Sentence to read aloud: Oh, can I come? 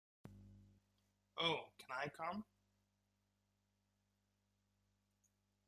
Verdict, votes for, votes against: accepted, 5, 1